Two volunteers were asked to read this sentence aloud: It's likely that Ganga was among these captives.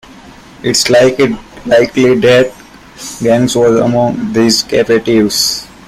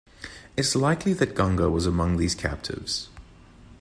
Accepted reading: second